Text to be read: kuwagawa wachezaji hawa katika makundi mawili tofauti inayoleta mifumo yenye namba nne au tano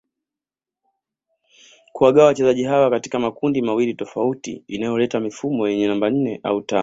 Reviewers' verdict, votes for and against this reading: accepted, 2, 0